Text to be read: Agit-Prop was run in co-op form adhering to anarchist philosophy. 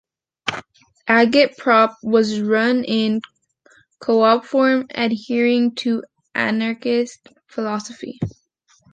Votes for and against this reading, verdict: 2, 0, accepted